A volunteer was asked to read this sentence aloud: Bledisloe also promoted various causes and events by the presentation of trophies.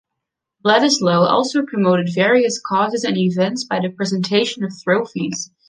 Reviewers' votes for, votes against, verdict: 2, 1, accepted